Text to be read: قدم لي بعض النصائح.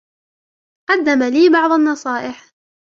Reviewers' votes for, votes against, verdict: 1, 3, rejected